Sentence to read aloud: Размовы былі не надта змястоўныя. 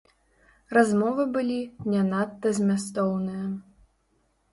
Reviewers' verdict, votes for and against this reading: rejected, 0, 2